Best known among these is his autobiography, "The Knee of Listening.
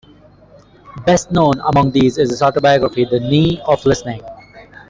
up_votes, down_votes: 2, 0